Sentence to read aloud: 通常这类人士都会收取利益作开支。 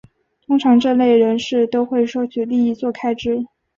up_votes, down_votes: 2, 1